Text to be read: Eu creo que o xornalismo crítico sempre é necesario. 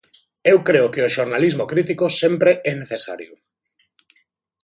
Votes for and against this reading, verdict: 2, 0, accepted